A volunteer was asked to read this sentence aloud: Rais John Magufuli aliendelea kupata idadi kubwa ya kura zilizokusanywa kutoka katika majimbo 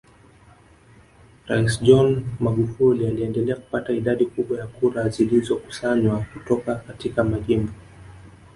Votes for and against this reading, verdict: 0, 2, rejected